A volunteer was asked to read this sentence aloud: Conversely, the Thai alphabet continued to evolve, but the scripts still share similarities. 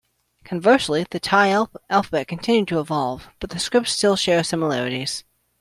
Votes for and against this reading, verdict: 0, 2, rejected